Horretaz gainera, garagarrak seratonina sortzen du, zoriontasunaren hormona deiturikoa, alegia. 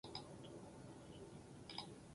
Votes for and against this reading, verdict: 0, 2, rejected